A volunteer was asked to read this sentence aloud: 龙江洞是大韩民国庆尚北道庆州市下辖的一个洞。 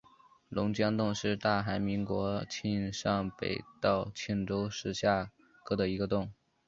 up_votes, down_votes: 0, 2